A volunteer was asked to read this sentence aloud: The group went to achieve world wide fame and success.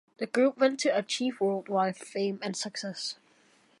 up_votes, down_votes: 2, 0